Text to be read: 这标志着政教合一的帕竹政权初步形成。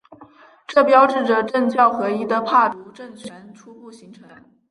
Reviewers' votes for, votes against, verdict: 3, 0, accepted